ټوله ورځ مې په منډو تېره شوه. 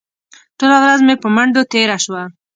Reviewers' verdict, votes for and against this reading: accepted, 2, 0